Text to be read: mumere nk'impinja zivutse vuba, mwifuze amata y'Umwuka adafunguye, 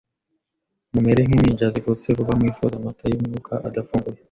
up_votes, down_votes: 2, 0